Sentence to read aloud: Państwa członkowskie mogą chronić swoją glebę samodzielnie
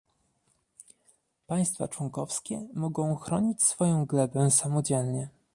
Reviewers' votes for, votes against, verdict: 1, 2, rejected